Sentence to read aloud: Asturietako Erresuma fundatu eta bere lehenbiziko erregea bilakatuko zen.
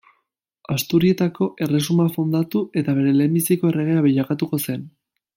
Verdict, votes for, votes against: accepted, 2, 0